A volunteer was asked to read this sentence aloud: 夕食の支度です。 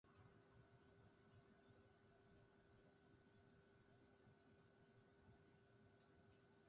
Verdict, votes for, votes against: rejected, 0, 2